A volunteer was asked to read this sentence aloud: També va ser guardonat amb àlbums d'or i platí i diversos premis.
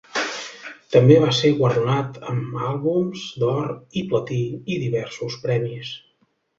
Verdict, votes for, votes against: accepted, 2, 0